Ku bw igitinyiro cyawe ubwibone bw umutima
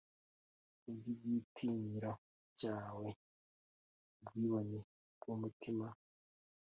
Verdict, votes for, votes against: accepted, 2, 0